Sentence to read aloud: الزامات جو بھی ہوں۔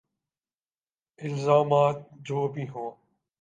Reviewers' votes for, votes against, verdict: 2, 0, accepted